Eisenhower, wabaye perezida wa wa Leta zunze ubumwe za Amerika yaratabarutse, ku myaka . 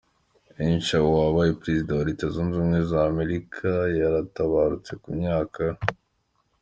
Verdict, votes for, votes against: accepted, 2, 0